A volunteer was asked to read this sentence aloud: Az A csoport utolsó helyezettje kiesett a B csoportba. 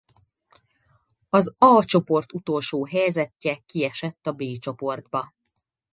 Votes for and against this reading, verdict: 4, 0, accepted